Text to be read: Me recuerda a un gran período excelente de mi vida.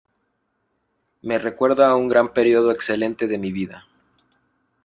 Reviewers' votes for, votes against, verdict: 2, 0, accepted